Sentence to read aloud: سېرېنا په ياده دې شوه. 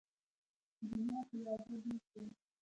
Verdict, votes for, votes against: rejected, 0, 2